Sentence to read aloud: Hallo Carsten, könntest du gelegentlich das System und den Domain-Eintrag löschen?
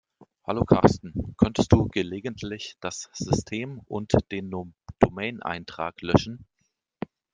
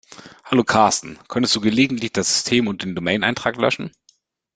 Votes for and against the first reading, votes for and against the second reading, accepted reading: 1, 2, 2, 0, second